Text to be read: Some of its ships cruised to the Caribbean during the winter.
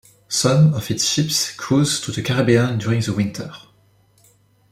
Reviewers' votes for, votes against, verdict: 2, 0, accepted